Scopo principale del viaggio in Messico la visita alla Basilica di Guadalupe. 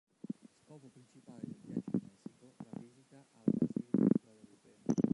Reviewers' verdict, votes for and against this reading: rejected, 0, 3